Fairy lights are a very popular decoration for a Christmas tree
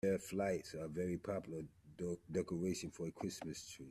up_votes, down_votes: 0, 2